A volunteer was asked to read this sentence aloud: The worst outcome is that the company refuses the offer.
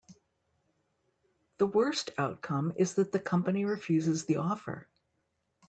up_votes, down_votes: 2, 0